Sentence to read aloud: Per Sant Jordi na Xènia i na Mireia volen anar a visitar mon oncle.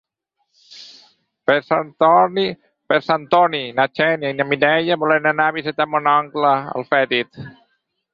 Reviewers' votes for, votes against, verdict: 0, 4, rejected